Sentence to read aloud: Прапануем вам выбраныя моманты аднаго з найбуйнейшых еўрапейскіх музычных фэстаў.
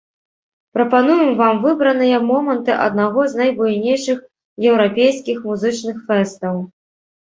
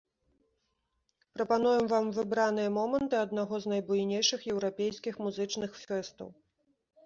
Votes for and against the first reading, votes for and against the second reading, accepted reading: 1, 2, 2, 0, second